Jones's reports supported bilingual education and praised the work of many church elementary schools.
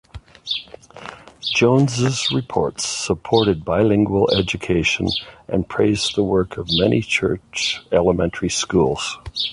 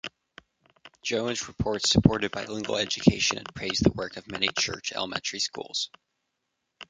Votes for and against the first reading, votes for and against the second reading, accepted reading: 2, 0, 0, 2, first